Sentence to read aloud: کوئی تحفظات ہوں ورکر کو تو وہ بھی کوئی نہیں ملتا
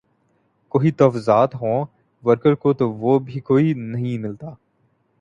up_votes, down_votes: 0, 2